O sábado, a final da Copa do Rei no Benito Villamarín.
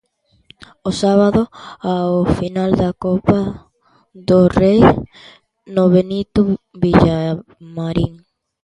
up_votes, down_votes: 0, 2